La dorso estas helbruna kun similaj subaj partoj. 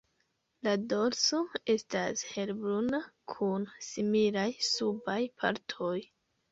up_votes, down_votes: 2, 1